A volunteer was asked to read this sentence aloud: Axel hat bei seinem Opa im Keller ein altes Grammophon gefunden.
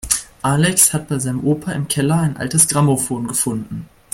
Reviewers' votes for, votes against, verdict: 0, 2, rejected